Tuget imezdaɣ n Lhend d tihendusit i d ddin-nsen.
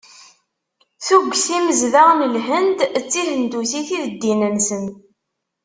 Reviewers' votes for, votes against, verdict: 2, 0, accepted